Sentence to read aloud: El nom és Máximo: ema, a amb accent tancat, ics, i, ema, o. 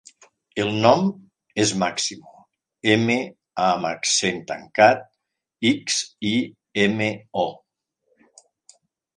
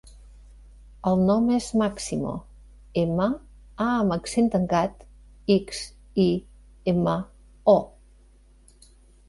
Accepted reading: second